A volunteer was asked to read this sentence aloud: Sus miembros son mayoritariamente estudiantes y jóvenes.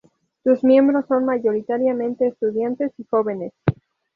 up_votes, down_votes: 0, 2